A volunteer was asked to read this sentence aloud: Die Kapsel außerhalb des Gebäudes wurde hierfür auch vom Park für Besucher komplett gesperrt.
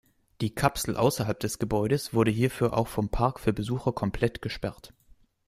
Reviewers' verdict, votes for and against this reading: accepted, 2, 0